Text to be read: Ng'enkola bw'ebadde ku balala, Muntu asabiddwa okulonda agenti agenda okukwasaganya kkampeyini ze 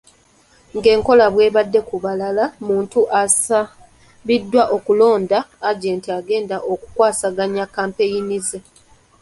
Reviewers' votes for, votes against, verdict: 1, 2, rejected